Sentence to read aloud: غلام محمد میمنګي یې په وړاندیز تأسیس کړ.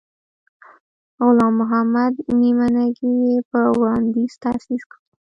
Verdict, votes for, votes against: rejected, 1, 2